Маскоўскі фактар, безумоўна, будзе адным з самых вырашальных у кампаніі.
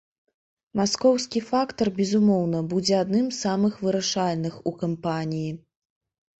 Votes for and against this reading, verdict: 2, 0, accepted